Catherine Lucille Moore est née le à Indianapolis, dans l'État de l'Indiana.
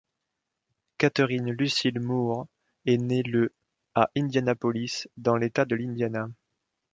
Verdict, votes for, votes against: accepted, 2, 0